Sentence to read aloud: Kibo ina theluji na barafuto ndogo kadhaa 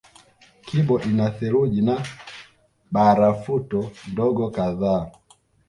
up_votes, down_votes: 0, 2